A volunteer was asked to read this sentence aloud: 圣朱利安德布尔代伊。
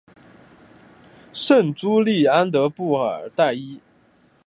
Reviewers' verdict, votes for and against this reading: accepted, 2, 0